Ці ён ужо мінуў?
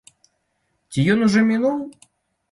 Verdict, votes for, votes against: accepted, 2, 0